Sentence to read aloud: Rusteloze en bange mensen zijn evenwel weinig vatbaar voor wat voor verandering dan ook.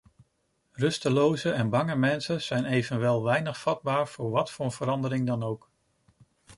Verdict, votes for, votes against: accepted, 2, 0